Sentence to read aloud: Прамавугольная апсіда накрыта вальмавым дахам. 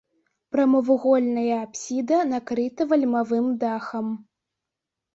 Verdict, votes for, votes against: accepted, 2, 0